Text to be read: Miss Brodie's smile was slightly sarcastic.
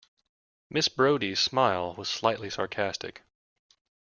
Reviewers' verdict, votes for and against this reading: accepted, 2, 0